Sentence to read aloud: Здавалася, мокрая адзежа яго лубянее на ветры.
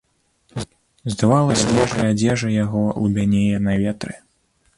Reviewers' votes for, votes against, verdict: 1, 2, rejected